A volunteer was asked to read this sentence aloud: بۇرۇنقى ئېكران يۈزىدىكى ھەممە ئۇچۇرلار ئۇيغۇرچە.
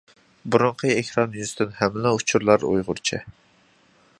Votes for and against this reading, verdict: 0, 2, rejected